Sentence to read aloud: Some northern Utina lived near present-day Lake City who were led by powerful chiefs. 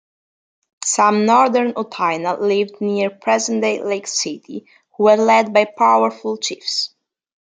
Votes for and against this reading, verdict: 2, 0, accepted